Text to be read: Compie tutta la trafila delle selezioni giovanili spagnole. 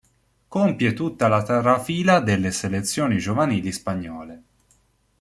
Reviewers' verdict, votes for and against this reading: rejected, 1, 2